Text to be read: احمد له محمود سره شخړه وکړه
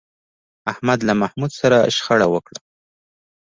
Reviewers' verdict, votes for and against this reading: accepted, 3, 0